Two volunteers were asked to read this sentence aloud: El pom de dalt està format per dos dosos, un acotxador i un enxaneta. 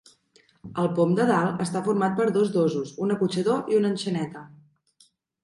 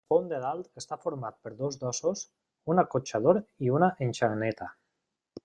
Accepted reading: first